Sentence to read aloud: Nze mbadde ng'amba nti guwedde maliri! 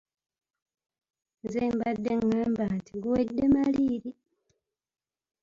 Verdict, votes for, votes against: rejected, 0, 2